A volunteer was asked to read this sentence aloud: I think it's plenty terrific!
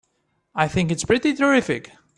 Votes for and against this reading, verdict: 0, 3, rejected